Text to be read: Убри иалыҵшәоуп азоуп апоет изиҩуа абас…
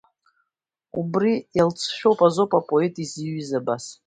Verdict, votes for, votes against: rejected, 1, 2